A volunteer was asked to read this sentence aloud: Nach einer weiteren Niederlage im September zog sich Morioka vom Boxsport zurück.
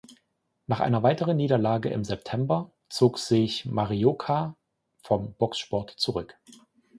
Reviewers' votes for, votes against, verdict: 0, 2, rejected